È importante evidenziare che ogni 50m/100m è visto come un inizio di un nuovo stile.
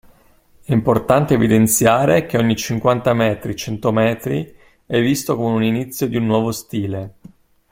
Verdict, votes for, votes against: rejected, 0, 2